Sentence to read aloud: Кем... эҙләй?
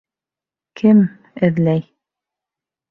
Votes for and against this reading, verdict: 2, 0, accepted